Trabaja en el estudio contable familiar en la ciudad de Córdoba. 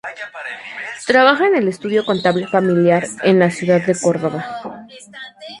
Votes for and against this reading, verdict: 0, 2, rejected